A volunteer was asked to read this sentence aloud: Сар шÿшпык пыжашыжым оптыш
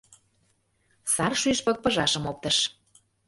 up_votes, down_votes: 1, 2